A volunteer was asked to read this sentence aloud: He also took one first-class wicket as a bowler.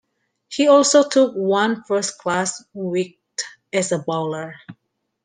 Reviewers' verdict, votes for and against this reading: rejected, 0, 2